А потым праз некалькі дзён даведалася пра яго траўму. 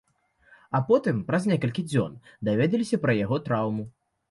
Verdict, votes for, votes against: rejected, 1, 2